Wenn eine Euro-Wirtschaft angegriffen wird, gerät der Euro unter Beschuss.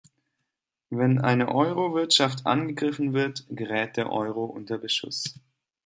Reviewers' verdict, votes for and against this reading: accepted, 2, 0